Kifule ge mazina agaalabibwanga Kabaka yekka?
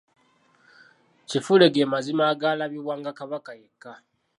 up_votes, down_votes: 2, 0